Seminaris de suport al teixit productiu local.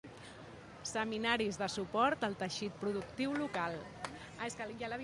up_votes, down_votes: 0, 3